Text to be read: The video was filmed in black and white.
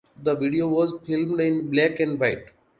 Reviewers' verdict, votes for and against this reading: rejected, 0, 2